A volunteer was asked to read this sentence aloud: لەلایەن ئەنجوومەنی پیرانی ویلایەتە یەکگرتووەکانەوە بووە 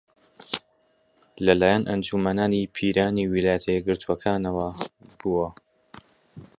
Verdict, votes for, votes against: rejected, 0, 2